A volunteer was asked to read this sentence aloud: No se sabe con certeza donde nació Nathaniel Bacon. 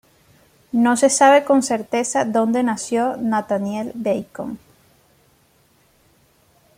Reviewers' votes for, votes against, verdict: 2, 0, accepted